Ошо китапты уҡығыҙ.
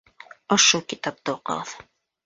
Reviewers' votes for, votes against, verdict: 2, 3, rejected